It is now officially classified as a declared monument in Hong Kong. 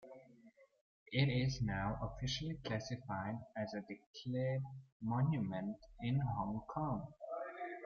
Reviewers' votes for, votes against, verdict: 2, 1, accepted